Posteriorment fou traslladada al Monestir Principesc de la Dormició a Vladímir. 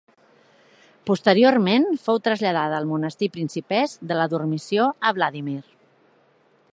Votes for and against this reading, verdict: 2, 0, accepted